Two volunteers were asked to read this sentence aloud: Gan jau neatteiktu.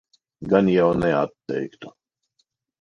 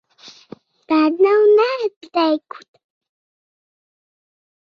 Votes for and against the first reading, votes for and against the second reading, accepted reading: 4, 0, 0, 2, first